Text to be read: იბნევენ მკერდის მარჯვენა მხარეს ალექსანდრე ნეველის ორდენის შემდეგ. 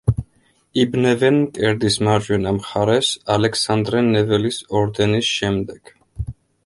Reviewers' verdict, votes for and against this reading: accepted, 2, 0